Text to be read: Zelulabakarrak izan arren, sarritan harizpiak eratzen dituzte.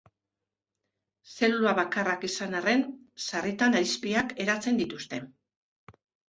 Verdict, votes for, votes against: rejected, 0, 2